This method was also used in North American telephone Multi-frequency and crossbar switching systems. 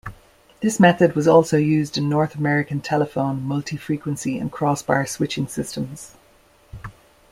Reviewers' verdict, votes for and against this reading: accepted, 2, 0